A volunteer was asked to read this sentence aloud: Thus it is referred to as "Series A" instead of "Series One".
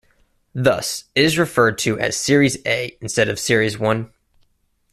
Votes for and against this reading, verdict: 1, 2, rejected